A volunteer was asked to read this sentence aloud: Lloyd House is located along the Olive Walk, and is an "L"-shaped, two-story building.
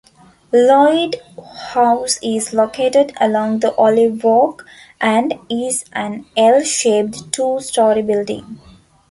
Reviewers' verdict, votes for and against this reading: accepted, 2, 0